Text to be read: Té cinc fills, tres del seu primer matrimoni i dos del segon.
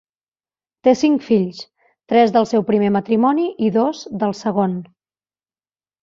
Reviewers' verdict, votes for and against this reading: accepted, 3, 1